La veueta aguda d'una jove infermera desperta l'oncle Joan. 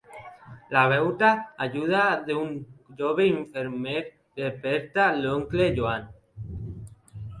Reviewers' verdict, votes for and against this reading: rejected, 0, 2